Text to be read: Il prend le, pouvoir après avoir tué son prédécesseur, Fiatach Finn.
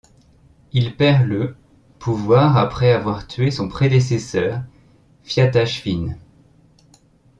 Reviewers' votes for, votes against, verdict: 0, 2, rejected